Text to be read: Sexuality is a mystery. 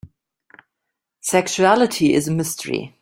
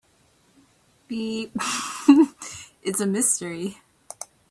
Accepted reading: first